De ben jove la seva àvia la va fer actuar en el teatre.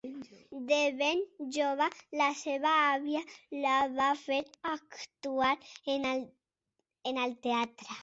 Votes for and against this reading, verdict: 2, 1, accepted